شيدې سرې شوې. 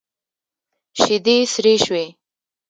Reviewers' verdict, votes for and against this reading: accepted, 2, 0